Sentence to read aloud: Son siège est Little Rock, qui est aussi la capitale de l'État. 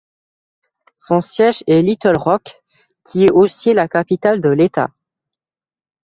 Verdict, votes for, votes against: accepted, 2, 0